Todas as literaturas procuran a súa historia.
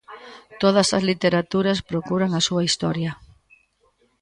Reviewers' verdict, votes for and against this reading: rejected, 0, 2